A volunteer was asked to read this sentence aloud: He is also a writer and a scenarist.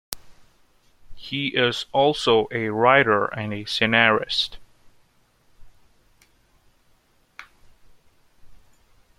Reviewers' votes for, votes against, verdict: 1, 2, rejected